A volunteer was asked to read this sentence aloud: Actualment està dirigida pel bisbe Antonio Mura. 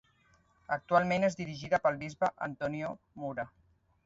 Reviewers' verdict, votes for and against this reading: rejected, 0, 2